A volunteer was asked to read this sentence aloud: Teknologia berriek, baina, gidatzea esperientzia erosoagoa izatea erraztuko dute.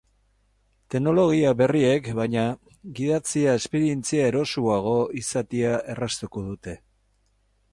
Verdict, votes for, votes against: rejected, 0, 4